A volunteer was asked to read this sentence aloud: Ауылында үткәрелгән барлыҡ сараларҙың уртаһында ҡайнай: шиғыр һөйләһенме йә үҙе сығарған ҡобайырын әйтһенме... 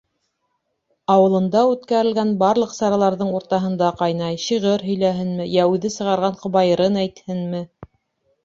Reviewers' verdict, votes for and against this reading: accepted, 2, 0